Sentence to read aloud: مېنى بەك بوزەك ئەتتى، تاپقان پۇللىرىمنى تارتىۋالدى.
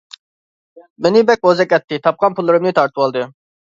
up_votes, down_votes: 2, 0